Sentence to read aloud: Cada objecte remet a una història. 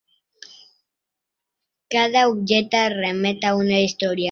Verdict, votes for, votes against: accepted, 4, 0